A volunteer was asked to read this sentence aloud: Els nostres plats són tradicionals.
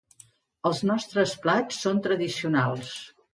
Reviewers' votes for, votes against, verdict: 2, 0, accepted